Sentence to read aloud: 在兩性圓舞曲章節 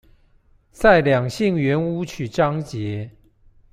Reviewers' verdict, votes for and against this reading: accepted, 2, 0